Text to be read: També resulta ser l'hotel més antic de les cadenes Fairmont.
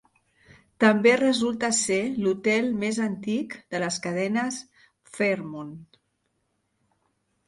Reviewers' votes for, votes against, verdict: 0, 2, rejected